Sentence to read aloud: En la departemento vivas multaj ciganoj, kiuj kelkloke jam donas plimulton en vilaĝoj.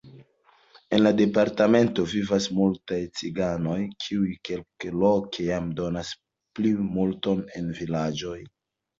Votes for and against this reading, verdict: 1, 2, rejected